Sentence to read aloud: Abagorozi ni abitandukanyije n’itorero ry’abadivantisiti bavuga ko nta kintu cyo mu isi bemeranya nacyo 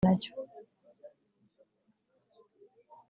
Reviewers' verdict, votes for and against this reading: rejected, 0, 2